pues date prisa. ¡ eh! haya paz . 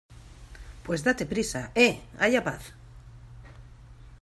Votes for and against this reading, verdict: 2, 0, accepted